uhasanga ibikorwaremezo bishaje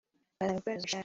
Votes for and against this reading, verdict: 0, 2, rejected